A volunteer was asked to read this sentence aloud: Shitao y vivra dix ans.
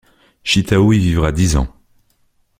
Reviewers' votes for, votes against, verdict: 2, 0, accepted